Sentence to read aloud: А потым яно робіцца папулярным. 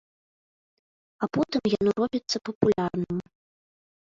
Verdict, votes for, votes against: rejected, 1, 2